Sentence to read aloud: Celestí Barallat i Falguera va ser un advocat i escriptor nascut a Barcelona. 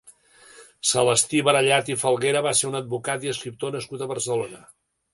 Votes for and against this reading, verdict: 2, 0, accepted